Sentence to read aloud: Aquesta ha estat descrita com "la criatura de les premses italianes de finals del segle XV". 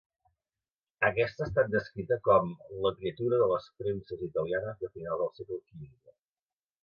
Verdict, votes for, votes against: rejected, 0, 2